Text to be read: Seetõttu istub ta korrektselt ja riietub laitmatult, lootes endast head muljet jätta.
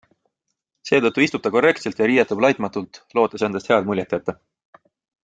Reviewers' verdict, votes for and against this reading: accepted, 2, 0